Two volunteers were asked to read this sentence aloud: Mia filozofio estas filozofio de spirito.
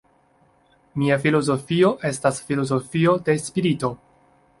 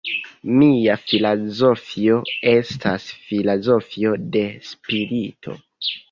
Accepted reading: first